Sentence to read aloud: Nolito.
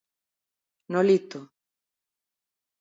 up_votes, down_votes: 2, 0